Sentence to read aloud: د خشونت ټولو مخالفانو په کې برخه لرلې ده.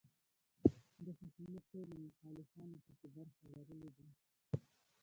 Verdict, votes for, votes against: rejected, 0, 2